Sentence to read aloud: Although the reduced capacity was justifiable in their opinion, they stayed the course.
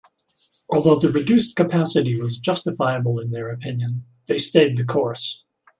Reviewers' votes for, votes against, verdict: 2, 0, accepted